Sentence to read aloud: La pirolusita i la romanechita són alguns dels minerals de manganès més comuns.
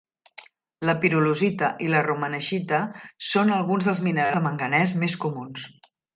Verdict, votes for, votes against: accepted, 2, 0